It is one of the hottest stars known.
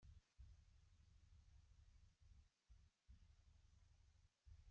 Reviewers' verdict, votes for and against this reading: rejected, 0, 2